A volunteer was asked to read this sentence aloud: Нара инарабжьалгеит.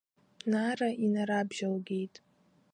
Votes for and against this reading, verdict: 2, 1, accepted